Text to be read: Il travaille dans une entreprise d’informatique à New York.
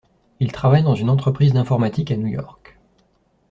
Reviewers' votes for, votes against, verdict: 2, 0, accepted